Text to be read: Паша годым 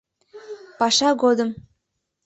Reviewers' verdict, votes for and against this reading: accepted, 2, 0